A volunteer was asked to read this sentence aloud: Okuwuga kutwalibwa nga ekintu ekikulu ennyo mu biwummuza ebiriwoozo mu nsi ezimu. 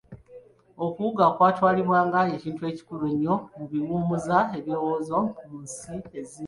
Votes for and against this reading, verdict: 0, 2, rejected